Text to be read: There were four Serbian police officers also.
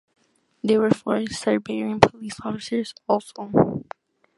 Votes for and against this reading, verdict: 2, 1, accepted